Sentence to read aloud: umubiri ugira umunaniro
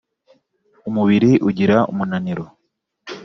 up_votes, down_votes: 2, 0